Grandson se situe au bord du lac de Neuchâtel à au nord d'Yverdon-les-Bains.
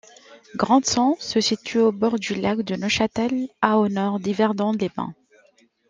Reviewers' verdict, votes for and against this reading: accepted, 2, 1